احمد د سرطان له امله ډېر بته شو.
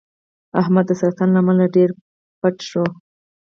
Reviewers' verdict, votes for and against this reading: accepted, 4, 0